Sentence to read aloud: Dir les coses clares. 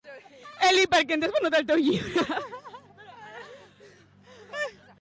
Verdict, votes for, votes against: rejected, 0, 2